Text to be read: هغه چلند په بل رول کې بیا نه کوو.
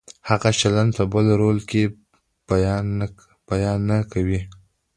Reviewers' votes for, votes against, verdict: 2, 0, accepted